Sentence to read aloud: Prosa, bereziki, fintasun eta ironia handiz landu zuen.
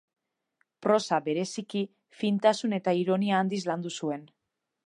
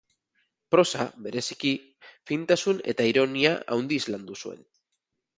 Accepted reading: first